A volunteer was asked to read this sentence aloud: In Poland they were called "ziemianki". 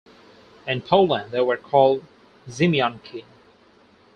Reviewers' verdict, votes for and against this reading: accepted, 4, 0